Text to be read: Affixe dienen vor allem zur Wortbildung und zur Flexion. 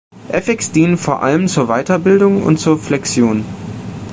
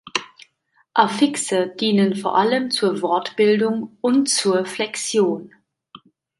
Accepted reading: second